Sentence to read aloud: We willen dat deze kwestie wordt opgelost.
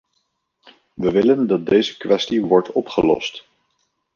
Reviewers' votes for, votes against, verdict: 2, 0, accepted